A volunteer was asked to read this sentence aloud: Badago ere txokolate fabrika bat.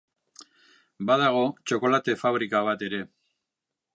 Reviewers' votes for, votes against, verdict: 0, 2, rejected